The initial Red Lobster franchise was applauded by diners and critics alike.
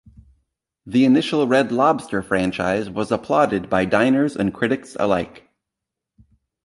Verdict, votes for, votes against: accepted, 3, 0